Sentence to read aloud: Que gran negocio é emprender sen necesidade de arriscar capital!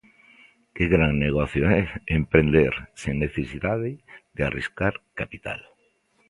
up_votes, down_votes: 2, 0